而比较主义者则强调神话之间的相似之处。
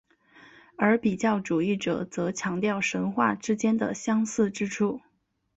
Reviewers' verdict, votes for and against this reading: accepted, 4, 0